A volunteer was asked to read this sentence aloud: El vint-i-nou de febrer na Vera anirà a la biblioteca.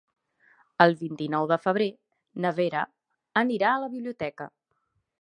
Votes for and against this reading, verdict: 3, 1, accepted